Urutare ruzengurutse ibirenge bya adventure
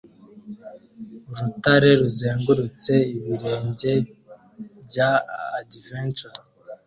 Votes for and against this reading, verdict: 2, 0, accepted